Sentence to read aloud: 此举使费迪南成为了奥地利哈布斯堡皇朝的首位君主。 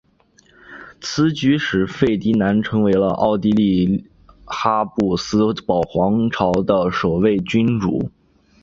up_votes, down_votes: 3, 0